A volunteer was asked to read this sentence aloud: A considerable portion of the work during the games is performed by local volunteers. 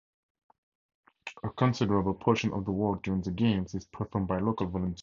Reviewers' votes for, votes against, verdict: 0, 4, rejected